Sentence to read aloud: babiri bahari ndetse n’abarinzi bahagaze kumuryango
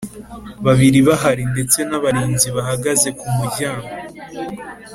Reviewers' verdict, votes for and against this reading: accepted, 2, 0